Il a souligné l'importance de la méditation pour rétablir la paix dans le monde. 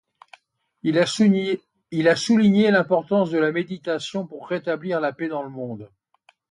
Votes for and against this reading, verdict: 1, 2, rejected